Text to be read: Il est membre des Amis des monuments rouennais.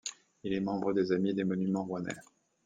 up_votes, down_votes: 2, 1